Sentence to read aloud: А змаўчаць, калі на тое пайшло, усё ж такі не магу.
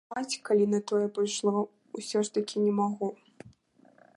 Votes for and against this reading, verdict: 0, 3, rejected